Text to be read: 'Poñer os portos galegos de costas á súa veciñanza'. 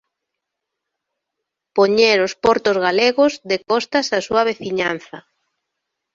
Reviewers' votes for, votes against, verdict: 2, 0, accepted